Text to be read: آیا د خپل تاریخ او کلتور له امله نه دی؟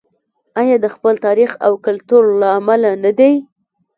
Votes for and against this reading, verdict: 1, 2, rejected